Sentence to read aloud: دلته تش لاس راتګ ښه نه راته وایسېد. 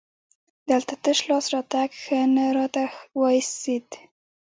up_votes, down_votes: 1, 2